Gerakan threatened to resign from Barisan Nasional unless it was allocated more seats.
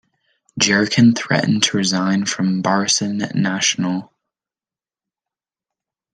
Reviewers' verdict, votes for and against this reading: rejected, 0, 2